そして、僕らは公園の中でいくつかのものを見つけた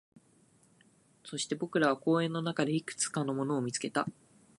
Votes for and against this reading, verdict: 4, 0, accepted